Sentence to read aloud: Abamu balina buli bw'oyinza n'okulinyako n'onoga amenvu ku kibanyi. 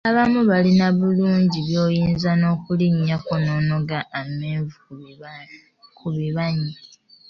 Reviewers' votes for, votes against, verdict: 1, 2, rejected